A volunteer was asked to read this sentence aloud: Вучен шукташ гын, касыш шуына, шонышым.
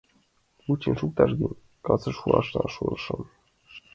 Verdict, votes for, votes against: rejected, 0, 2